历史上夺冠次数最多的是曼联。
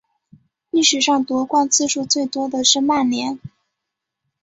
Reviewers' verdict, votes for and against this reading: accepted, 5, 0